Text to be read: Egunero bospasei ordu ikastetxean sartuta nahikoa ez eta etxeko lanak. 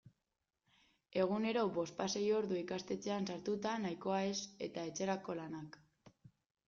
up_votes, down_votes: 0, 2